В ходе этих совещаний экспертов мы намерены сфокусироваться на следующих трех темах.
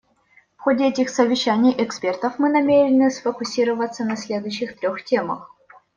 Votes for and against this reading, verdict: 2, 0, accepted